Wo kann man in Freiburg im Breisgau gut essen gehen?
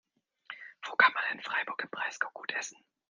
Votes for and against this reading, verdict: 0, 2, rejected